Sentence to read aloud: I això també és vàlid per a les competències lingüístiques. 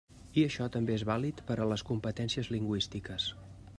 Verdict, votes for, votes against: accepted, 3, 0